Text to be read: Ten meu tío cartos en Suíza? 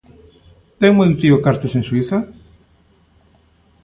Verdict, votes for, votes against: accepted, 2, 0